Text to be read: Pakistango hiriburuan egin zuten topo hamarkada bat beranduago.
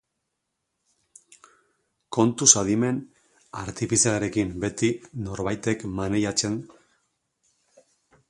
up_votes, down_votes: 0, 2